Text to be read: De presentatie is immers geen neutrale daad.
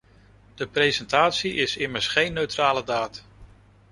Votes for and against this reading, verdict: 2, 0, accepted